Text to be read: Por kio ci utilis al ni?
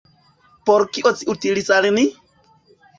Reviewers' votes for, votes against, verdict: 1, 2, rejected